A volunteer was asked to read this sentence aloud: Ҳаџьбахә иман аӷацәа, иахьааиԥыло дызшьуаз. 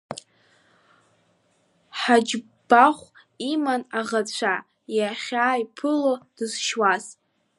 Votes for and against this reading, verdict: 2, 1, accepted